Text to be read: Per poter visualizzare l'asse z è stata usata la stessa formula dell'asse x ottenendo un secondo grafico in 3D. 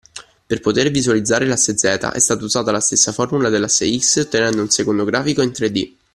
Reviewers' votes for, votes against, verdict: 0, 2, rejected